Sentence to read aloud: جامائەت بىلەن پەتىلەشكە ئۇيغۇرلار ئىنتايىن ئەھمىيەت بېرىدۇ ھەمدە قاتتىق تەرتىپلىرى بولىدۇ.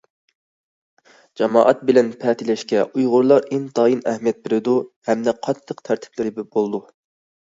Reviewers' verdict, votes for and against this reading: accepted, 2, 0